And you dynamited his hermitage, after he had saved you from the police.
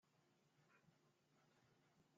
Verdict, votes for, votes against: rejected, 0, 2